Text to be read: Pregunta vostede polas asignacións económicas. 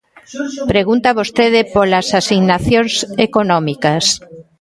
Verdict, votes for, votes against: rejected, 0, 2